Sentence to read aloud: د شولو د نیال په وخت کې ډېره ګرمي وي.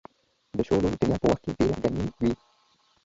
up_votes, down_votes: 0, 2